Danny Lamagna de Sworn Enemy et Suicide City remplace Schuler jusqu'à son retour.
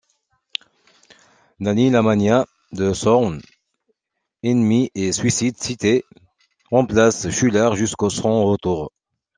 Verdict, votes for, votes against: accepted, 2, 0